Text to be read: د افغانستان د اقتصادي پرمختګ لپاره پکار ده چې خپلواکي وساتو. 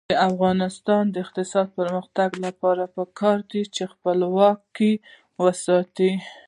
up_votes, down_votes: 1, 2